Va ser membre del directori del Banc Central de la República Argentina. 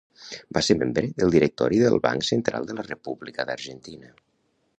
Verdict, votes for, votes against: rejected, 0, 2